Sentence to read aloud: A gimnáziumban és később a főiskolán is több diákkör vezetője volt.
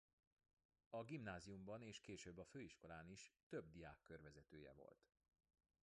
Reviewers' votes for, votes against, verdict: 2, 0, accepted